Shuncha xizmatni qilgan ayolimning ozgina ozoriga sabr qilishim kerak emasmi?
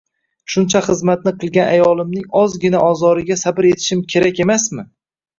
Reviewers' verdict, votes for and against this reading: rejected, 1, 2